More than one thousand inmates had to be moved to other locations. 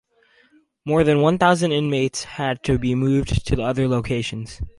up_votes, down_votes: 2, 2